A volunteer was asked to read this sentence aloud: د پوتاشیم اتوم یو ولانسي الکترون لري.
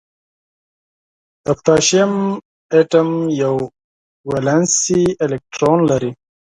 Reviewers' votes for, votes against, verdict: 4, 0, accepted